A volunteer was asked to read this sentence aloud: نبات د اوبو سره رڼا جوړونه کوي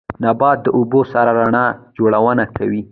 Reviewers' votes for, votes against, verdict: 0, 2, rejected